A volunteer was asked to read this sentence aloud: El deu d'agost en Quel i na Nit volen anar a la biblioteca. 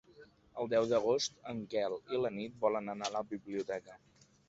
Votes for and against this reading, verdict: 1, 3, rejected